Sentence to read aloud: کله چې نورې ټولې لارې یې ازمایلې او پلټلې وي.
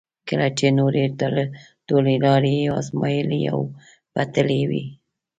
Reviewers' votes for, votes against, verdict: 1, 2, rejected